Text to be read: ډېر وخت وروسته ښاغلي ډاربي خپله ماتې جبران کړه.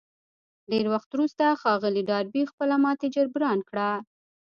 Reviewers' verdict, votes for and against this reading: rejected, 1, 2